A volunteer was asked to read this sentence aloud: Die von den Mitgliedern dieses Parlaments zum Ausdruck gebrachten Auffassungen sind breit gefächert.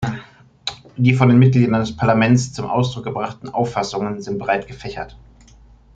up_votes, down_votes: 2, 1